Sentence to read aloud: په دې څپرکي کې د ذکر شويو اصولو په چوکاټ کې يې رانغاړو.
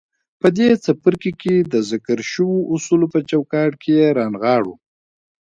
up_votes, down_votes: 1, 2